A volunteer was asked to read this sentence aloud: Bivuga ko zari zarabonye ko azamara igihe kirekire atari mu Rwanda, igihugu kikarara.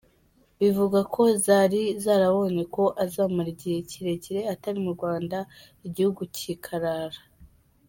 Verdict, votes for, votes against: rejected, 1, 2